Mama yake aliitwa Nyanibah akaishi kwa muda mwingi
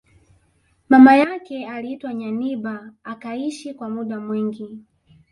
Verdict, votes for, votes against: rejected, 1, 2